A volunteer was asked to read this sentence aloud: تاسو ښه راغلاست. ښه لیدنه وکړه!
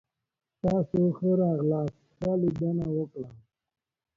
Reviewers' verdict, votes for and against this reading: rejected, 1, 2